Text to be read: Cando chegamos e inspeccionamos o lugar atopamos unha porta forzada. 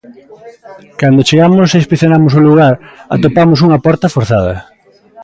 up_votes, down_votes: 2, 0